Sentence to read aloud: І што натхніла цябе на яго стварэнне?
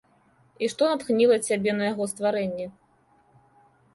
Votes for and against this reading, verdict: 2, 0, accepted